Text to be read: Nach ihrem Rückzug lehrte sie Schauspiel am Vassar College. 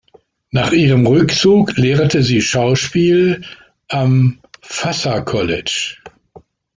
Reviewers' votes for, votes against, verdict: 0, 2, rejected